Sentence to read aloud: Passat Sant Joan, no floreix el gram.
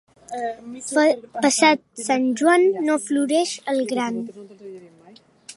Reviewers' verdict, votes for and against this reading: rejected, 1, 2